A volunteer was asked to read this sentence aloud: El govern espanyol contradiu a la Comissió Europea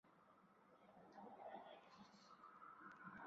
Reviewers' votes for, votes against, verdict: 0, 2, rejected